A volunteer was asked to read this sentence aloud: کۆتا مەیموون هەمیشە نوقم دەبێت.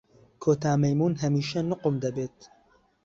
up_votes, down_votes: 2, 0